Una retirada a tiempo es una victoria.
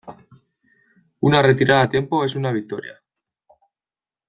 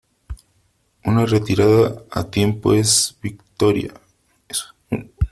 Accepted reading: first